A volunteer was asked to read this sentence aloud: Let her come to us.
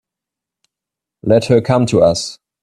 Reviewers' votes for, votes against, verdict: 3, 0, accepted